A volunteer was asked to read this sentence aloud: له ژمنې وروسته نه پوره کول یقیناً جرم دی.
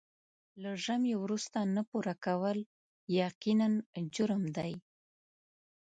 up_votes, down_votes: 1, 2